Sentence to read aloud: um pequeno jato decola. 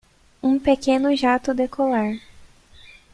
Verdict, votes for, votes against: rejected, 0, 2